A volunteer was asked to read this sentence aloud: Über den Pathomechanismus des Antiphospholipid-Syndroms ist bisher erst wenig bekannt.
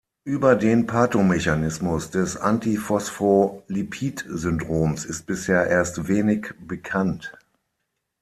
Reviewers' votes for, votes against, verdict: 3, 6, rejected